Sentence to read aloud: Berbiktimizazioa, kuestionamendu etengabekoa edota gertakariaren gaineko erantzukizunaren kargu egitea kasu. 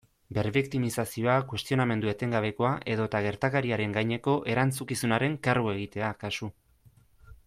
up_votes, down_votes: 2, 0